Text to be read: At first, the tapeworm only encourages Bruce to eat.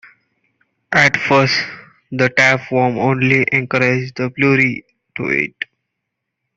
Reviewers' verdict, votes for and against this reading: rejected, 0, 2